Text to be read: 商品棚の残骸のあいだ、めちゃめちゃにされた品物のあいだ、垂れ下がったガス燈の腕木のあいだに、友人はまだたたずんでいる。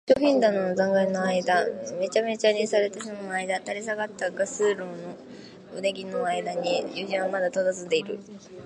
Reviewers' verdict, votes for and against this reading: rejected, 0, 2